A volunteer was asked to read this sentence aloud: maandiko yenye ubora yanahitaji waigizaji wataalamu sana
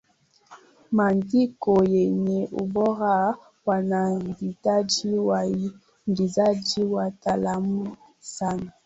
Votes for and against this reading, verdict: 1, 2, rejected